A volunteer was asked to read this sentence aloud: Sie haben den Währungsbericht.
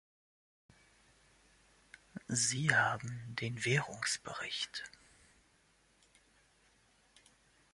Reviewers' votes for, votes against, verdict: 2, 0, accepted